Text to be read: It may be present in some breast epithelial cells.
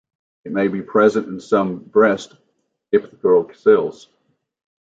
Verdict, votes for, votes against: accepted, 2, 0